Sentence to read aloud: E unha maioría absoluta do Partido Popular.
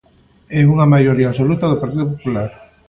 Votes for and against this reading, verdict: 2, 0, accepted